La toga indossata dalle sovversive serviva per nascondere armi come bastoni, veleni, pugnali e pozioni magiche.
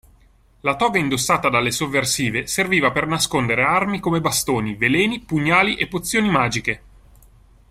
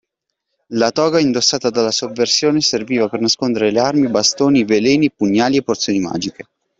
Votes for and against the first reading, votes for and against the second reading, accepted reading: 2, 0, 1, 2, first